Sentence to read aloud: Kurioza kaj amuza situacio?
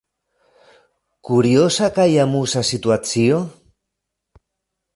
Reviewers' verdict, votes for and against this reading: rejected, 0, 2